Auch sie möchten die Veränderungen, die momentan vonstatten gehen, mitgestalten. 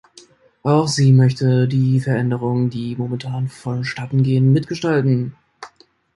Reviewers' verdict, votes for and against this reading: rejected, 0, 2